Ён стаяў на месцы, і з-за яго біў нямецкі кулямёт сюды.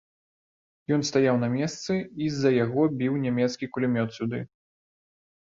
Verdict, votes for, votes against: accepted, 2, 0